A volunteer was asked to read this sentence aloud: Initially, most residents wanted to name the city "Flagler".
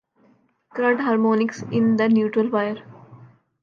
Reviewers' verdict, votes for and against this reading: rejected, 0, 2